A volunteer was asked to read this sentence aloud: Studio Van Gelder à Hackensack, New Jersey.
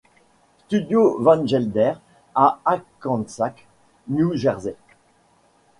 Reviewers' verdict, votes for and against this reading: accepted, 2, 0